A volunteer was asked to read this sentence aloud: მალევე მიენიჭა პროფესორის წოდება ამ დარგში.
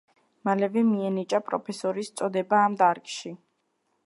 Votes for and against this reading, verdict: 2, 1, accepted